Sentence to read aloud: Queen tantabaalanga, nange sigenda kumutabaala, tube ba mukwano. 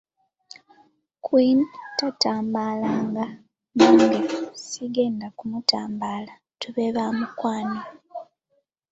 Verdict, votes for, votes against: rejected, 1, 2